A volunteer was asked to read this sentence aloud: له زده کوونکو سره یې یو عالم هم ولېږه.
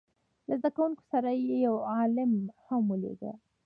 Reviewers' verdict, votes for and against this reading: rejected, 1, 2